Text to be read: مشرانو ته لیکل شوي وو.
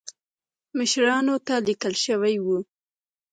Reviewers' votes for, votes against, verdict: 1, 2, rejected